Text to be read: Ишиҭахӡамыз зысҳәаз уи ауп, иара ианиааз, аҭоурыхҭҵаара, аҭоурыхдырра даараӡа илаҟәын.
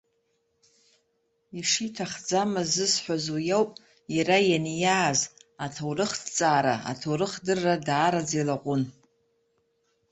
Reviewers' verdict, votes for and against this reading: accepted, 2, 0